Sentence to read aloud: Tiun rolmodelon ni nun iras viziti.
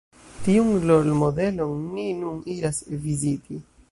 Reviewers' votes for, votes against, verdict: 1, 2, rejected